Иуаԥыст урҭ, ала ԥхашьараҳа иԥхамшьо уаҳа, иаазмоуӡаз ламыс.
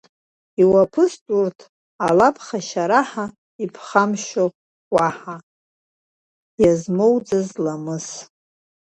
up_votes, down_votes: 0, 2